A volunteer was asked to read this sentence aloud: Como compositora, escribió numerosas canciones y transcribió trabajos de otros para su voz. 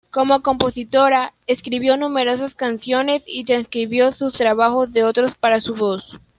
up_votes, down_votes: 1, 2